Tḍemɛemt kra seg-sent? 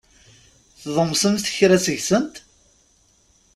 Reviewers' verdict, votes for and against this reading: rejected, 1, 2